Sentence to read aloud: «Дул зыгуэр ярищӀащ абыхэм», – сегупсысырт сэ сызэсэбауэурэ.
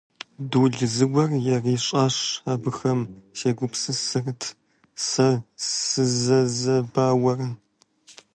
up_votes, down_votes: 0, 2